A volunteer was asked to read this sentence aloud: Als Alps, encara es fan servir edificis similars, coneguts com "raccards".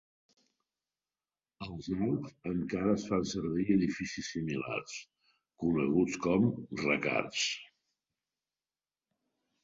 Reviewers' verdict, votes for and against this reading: rejected, 0, 4